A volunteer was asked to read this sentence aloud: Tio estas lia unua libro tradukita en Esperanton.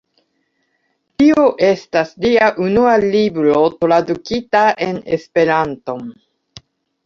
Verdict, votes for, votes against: accepted, 2, 1